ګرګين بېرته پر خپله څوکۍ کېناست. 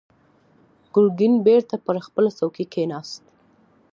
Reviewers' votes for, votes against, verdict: 2, 0, accepted